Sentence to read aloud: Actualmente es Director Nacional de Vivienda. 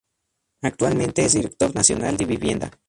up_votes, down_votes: 0, 2